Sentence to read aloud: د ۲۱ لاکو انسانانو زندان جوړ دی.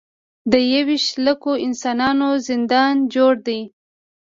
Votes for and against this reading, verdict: 0, 2, rejected